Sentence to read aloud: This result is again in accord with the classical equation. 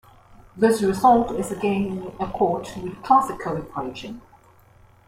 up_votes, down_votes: 2, 1